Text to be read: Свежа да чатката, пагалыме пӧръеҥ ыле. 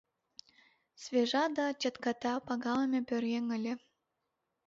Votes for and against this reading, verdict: 2, 0, accepted